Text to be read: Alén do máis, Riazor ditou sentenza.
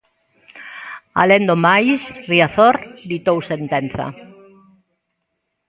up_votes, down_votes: 0, 2